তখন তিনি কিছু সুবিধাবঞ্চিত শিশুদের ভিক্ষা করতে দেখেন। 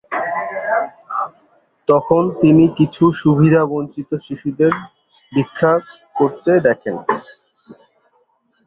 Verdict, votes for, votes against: rejected, 1, 2